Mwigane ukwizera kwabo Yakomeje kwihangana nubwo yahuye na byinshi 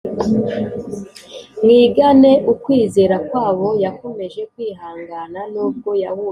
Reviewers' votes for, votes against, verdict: 3, 1, accepted